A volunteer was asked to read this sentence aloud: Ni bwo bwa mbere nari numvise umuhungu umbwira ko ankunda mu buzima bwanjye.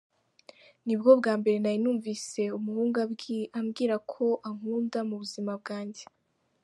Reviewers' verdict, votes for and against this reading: accepted, 2, 1